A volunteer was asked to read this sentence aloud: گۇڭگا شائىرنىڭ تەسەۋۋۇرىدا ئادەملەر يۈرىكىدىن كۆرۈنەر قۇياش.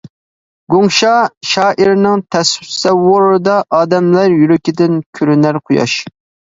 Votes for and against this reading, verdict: 0, 2, rejected